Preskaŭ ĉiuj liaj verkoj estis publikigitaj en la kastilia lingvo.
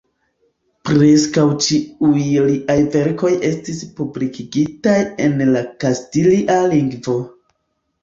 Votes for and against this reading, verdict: 2, 0, accepted